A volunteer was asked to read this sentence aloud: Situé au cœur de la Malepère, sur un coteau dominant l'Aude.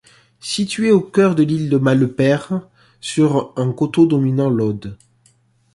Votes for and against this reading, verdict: 2, 1, accepted